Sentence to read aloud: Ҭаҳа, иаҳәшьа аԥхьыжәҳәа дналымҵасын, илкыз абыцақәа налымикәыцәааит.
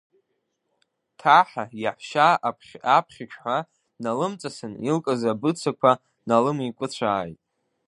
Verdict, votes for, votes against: rejected, 1, 2